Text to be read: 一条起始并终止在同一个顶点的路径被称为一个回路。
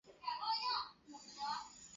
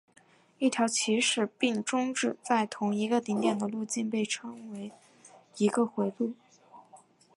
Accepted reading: second